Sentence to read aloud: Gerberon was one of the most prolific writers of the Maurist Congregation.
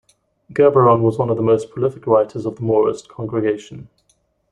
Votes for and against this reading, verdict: 2, 0, accepted